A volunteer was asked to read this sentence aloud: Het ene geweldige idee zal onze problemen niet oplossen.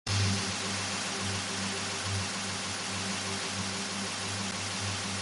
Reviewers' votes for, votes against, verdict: 0, 2, rejected